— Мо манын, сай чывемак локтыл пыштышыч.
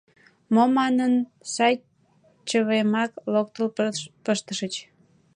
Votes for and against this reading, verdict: 0, 2, rejected